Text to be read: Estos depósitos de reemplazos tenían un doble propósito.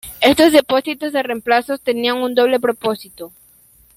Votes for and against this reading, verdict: 2, 1, accepted